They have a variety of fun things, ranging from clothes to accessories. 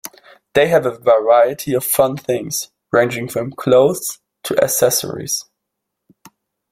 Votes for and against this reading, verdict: 2, 0, accepted